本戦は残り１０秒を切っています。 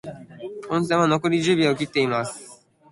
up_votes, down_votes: 0, 2